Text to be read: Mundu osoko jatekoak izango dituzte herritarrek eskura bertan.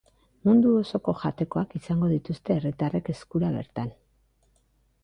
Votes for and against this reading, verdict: 2, 0, accepted